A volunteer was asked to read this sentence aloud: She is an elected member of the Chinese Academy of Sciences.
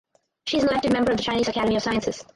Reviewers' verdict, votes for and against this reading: rejected, 0, 2